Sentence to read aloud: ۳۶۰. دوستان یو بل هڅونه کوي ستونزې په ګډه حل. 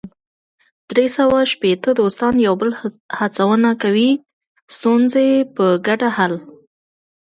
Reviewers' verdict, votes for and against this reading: rejected, 0, 2